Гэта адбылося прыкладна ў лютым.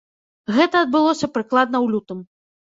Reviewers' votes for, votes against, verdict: 0, 2, rejected